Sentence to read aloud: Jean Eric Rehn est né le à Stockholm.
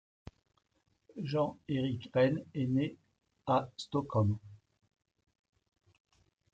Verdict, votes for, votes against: rejected, 0, 2